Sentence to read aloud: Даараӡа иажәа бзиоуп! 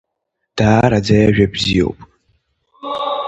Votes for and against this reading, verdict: 2, 0, accepted